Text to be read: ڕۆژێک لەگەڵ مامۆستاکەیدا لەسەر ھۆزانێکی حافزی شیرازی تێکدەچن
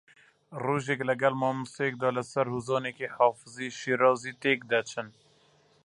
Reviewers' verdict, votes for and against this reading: rejected, 0, 2